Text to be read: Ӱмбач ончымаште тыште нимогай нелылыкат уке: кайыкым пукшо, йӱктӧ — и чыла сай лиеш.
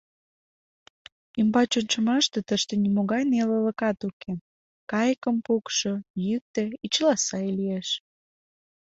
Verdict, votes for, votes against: accepted, 2, 0